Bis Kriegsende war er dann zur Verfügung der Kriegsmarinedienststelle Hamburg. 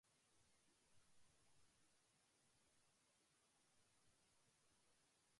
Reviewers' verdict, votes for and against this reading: rejected, 0, 2